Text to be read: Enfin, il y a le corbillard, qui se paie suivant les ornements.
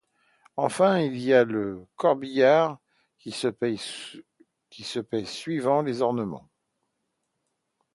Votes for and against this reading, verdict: 0, 2, rejected